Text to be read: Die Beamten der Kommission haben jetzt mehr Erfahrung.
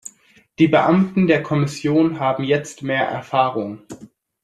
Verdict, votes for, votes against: accepted, 2, 0